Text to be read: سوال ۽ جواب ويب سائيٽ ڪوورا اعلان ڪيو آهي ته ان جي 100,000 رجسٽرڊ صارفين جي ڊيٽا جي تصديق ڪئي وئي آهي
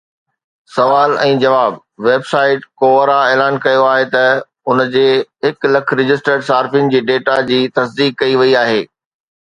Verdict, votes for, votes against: rejected, 0, 2